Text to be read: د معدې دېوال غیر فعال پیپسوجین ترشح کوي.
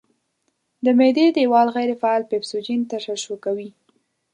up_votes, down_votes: 1, 2